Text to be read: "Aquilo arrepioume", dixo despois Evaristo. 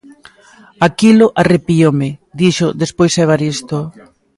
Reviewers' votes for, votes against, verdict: 2, 0, accepted